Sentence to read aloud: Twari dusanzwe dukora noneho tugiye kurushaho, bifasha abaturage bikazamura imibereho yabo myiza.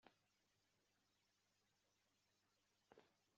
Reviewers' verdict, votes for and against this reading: rejected, 0, 2